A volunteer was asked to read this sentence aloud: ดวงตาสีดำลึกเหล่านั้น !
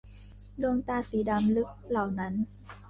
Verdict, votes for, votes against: accepted, 3, 1